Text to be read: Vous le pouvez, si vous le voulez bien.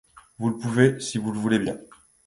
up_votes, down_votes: 2, 0